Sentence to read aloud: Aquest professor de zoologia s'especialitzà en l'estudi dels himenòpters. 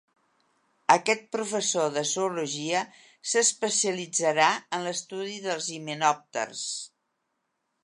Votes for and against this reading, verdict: 1, 2, rejected